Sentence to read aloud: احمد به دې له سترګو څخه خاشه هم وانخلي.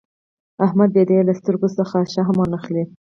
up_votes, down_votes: 0, 4